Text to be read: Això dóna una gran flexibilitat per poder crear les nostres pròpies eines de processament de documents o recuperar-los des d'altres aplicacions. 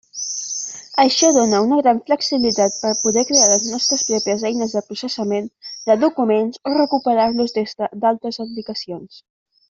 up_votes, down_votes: 2, 0